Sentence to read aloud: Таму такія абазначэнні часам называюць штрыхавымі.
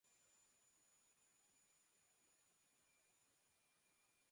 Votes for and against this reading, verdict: 0, 2, rejected